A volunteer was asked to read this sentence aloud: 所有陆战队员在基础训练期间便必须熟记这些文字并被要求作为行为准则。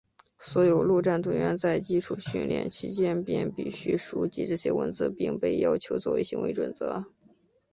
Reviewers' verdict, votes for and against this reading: accepted, 3, 0